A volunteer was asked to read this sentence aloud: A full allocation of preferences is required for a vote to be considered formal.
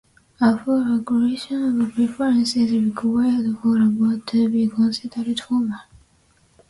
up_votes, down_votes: 0, 2